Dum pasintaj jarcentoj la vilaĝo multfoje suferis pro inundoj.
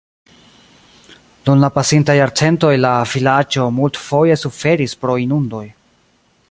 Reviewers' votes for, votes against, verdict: 1, 2, rejected